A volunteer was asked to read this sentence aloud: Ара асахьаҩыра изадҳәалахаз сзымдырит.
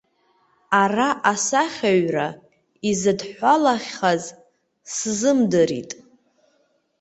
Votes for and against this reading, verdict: 1, 2, rejected